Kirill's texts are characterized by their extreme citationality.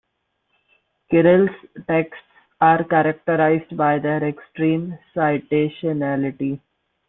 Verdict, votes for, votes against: accepted, 2, 0